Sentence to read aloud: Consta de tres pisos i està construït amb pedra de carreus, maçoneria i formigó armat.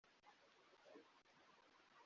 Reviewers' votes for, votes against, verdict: 0, 2, rejected